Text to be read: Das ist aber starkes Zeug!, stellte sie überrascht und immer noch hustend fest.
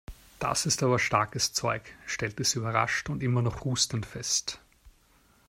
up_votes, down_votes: 2, 0